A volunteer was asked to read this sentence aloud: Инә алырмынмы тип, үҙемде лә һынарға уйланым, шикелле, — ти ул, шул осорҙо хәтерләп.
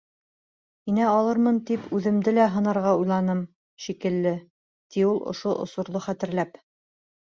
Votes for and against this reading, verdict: 2, 0, accepted